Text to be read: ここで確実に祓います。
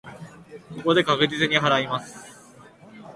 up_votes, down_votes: 2, 0